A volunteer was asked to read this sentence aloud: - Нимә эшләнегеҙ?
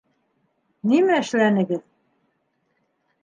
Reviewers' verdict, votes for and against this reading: accepted, 2, 0